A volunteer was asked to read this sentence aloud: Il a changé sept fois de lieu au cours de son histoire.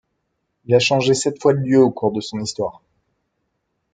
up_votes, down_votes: 2, 0